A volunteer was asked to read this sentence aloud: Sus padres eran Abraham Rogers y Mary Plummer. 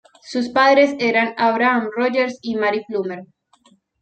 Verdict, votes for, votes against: accepted, 2, 0